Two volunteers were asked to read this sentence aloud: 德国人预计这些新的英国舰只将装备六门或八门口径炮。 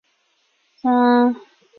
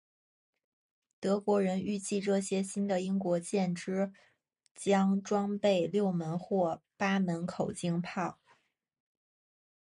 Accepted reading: second